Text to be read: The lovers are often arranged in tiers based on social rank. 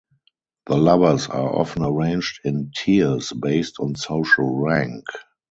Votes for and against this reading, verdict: 2, 4, rejected